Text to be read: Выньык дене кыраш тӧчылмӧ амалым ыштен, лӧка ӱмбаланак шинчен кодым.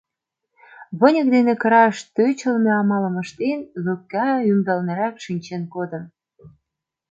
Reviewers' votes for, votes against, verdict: 0, 2, rejected